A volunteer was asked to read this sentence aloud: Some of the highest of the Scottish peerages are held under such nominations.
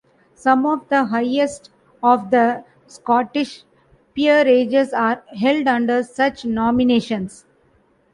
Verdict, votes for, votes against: rejected, 0, 2